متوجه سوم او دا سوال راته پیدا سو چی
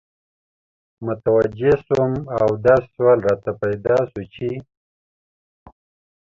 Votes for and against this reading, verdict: 2, 0, accepted